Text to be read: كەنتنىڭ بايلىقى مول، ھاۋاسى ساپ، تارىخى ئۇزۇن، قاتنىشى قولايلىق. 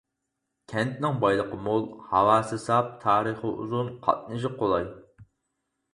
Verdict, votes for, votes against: rejected, 0, 4